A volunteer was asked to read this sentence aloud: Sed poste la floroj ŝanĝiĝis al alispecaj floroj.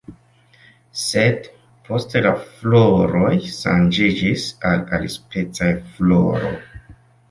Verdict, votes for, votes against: rejected, 1, 2